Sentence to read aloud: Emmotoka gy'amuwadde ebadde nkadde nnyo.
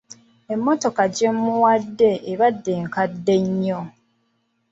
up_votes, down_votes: 1, 2